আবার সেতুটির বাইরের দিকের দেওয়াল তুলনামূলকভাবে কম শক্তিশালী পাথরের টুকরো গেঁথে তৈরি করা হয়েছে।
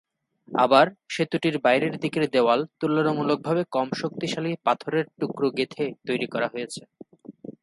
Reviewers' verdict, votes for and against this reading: accepted, 3, 0